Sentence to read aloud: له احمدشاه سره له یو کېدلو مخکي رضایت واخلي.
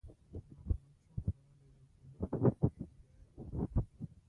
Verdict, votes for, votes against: rejected, 1, 2